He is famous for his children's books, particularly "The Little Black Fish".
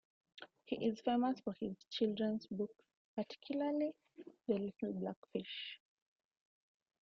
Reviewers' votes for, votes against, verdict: 2, 1, accepted